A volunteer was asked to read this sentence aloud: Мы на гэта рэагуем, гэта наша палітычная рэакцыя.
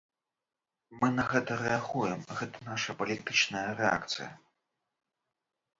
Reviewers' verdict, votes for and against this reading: accepted, 2, 0